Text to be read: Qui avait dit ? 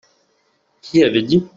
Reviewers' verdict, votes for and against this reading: accepted, 2, 0